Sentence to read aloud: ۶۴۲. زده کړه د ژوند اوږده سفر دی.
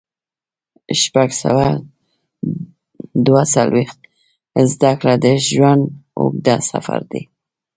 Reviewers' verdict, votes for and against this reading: rejected, 0, 2